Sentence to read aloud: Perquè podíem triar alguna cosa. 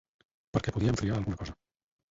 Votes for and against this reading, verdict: 0, 4, rejected